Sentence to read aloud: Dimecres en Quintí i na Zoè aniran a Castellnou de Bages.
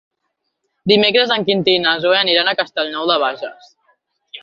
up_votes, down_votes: 4, 0